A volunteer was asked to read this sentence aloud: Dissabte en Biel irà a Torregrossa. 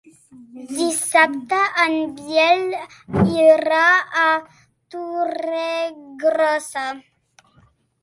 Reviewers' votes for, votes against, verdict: 0, 2, rejected